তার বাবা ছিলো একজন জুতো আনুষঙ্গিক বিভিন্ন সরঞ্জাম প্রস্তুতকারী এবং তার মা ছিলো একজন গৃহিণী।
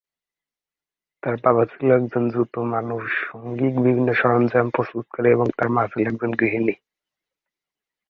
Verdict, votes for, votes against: rejected, 2, 3